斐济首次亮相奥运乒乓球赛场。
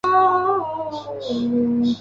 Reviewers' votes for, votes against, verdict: 0, 5, rejected